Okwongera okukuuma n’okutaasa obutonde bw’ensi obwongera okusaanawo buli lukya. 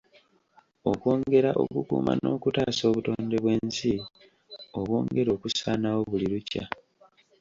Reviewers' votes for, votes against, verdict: 2, 0, accepted